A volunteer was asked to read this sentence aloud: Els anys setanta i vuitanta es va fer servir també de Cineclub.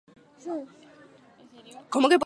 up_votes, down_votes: 0, 2